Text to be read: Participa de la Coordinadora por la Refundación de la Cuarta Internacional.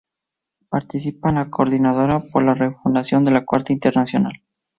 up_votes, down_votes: 0, 2